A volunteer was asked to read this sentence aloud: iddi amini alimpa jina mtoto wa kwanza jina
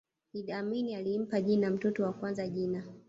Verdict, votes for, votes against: rejected, 0, 2